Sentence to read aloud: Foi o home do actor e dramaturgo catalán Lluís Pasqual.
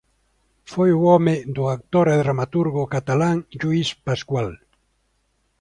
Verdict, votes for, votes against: accepted, 2, 0